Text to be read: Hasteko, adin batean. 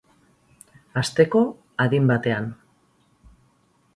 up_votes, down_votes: 2, 0